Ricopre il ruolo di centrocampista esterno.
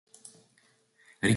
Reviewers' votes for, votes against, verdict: 0, 3, rejected